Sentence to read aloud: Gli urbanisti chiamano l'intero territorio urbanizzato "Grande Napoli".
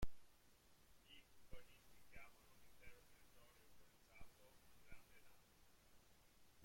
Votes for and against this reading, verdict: 0, 2, rejected